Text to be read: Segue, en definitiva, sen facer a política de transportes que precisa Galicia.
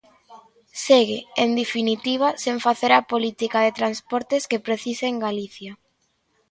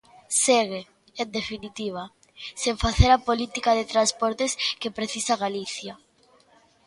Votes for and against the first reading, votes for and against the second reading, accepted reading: 0, 2, 2, 1, second